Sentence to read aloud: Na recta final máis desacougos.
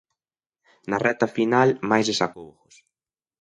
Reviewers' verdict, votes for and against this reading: accepted, 2, 0